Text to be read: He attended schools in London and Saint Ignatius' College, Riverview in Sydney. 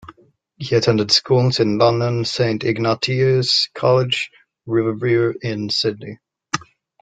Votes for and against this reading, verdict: 0, 2, rejected